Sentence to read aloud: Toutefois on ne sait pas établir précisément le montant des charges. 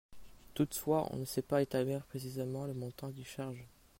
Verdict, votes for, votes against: accepted, 2, 1